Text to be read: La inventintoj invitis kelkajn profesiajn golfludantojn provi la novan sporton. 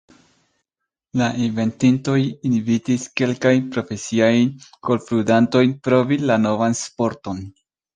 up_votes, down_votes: 2, 0